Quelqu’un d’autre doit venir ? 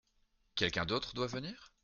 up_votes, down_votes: 2, 1